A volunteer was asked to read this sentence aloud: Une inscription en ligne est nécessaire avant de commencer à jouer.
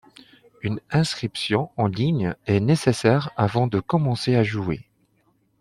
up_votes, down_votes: 2, 0